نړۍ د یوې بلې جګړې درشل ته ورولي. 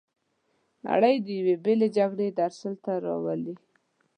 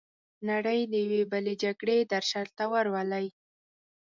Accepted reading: second